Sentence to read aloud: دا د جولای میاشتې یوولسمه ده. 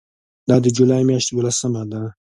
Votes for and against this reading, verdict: 2, 0, accepted